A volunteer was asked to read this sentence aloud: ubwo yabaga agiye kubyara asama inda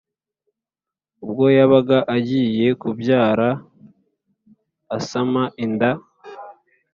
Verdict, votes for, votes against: accepted, 2, 0